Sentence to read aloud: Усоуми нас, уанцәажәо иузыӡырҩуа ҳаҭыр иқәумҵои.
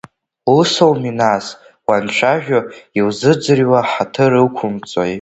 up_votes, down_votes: 2, 0